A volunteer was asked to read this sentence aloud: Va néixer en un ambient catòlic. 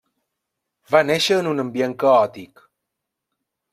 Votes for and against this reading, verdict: 0, 2, rejected